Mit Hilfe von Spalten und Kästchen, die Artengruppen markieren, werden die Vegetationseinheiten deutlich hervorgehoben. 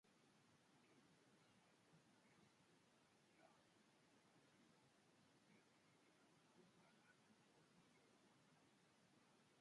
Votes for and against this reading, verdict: 0, 2, rejected